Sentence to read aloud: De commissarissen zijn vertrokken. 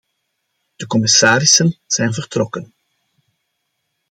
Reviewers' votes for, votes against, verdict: 2, 0, accepted